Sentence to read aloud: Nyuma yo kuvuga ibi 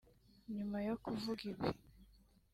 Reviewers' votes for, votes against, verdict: 2, 0, accepted